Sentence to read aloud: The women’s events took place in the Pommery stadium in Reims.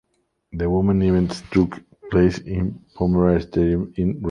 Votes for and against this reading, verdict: 0, 2, rejected